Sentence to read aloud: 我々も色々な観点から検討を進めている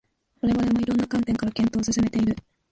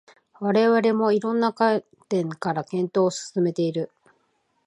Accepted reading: second